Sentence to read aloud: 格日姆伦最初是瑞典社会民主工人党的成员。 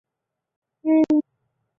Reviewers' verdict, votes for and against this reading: rejected, 0, 2